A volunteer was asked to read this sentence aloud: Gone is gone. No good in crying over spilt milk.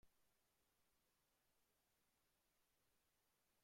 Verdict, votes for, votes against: rejected, 0, 2